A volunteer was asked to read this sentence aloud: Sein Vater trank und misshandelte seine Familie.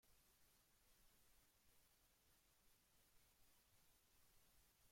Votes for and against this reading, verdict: 1, 2, rejected